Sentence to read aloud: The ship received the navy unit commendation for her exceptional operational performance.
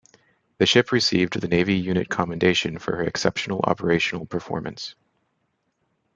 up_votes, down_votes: 1, 2